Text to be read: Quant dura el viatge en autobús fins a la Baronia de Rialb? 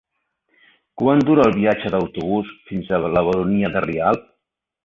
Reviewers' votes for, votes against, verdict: 3, 1, accepted